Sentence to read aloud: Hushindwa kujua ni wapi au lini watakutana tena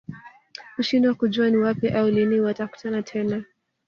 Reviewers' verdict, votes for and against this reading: accepted, 2, 0